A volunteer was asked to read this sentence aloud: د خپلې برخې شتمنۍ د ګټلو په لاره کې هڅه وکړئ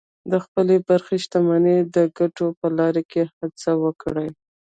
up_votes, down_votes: 1, 2